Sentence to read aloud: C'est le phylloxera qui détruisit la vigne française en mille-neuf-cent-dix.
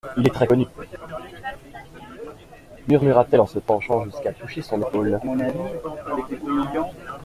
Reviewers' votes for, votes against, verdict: 0, 2, rejected